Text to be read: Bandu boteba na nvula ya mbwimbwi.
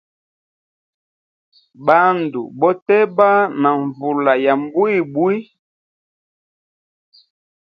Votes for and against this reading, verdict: 2, 0, accepted